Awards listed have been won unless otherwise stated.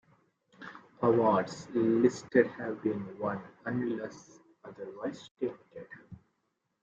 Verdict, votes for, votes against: rejected, 0, 2